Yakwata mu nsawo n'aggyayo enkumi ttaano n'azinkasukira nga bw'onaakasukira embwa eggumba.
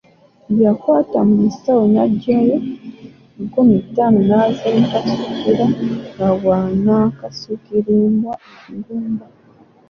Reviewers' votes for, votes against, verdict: 1, 2, rejected